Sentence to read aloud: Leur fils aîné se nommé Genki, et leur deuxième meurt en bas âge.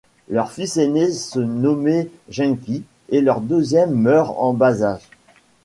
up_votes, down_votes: 1, 2